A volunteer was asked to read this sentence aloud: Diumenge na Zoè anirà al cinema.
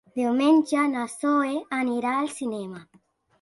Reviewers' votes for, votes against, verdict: 1, 2, rejected